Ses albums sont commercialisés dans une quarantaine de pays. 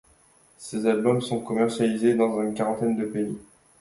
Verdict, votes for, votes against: accepted, 2, 1